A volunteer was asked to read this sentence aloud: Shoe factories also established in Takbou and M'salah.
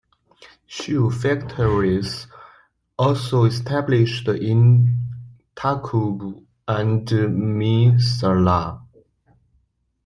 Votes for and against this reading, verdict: 2, 1, accepted